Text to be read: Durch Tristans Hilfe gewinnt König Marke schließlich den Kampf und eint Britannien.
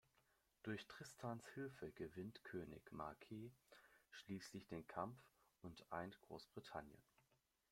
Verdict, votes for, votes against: rejected, 0, 2